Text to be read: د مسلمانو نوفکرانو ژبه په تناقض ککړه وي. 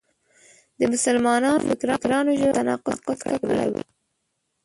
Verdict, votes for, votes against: rejected, 0, 2